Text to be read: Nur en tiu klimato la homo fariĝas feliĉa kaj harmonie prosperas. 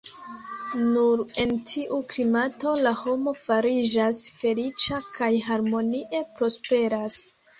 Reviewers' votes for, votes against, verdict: 2, 1, accepted